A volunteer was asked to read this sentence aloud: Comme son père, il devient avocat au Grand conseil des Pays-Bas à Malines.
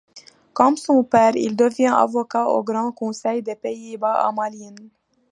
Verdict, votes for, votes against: accepted, 2, 1